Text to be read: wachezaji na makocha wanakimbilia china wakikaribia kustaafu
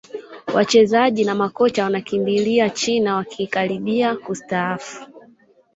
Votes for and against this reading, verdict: 0, 2, rejected